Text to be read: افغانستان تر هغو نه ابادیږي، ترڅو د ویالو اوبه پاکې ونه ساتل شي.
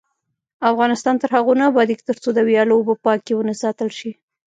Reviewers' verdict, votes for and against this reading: accepted, 2, 0